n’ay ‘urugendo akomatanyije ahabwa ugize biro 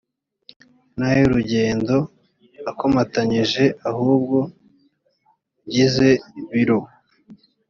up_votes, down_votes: 2, 3